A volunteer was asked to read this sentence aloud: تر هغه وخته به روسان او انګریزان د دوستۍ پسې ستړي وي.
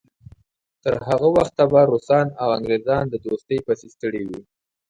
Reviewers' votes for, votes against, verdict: 4, 0, accepted